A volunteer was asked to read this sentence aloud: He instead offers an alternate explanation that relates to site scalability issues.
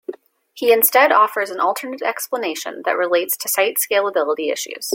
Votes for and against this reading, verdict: 2, 0, accepted